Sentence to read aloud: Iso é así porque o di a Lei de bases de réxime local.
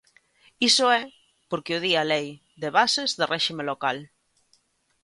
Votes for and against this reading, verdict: 0, 2, rejected